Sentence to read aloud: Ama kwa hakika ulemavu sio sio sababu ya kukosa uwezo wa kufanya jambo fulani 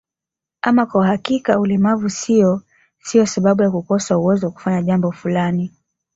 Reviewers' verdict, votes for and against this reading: accepted, 2, 0